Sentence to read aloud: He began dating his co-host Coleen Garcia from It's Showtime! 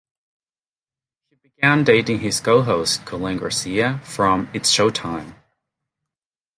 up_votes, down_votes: 0, 2